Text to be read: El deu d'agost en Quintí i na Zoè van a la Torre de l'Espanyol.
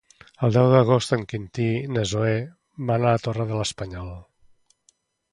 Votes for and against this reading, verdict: 2, 0, accepted